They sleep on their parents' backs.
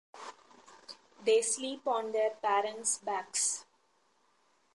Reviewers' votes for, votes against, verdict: 2, 0, accepted